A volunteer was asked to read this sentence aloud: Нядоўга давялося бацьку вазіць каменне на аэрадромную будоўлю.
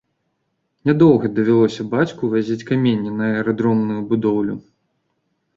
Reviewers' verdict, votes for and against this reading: accepted, 2, 0